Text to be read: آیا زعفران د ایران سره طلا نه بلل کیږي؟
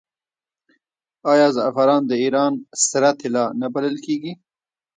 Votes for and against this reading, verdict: 1, 2, rejected